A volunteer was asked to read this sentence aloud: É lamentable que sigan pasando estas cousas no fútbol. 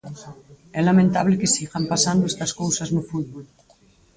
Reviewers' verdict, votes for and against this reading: rejected, 2, 4